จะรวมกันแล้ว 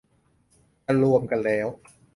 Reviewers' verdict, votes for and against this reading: accepted, 2, 0